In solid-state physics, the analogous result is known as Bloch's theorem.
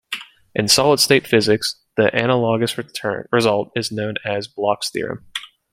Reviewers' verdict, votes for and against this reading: rejected, 1, 2